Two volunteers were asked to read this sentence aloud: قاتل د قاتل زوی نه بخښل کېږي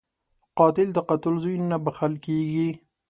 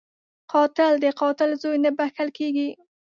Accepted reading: first